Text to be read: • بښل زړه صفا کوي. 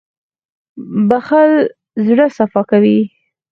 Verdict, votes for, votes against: accepted, 4, 0